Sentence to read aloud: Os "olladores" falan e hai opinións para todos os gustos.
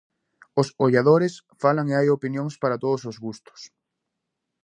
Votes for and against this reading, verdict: 4, 0, accepted